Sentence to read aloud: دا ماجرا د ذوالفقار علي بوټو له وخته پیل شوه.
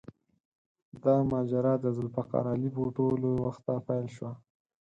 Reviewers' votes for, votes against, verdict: 4, 0, accepted